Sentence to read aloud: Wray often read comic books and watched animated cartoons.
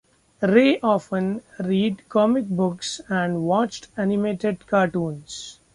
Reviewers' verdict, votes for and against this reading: rejected, 1, 2